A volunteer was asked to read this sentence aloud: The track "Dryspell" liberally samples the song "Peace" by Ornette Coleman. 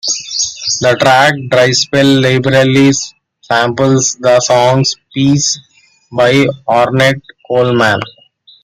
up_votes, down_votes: 2, 1